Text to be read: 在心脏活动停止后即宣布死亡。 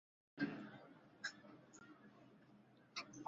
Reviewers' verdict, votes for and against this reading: rejected, 0, 2